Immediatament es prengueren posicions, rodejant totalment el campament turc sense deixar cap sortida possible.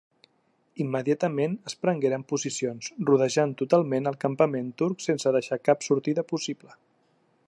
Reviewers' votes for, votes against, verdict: 3, 0, accepted